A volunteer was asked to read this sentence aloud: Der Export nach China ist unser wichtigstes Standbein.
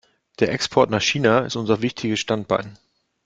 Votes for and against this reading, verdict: 0, 2, rejected